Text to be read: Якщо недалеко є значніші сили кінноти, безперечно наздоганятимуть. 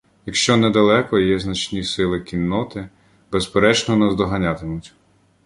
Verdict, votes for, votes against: rejected, 1, 2